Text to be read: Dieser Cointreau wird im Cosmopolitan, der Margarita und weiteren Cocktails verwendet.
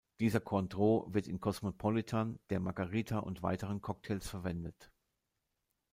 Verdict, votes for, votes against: rejected, 1, 2